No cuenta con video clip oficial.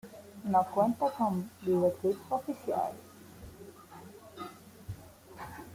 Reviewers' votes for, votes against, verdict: 2, 0, accepted